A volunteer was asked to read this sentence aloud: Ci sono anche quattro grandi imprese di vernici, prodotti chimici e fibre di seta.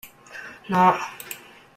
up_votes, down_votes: 0, 2